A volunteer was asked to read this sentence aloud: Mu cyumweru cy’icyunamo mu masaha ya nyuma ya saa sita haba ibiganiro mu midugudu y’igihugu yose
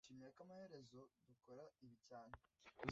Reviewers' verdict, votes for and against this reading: rejected, 0, 2